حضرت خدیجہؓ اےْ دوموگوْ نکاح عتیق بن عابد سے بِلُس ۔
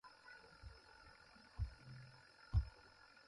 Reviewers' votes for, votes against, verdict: 0, 2, rejected